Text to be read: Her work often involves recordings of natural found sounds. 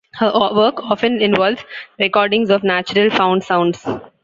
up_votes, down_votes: 0, 2